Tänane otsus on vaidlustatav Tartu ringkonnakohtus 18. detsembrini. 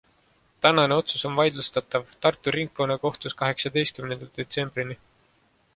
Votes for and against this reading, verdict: 0, 2, rejected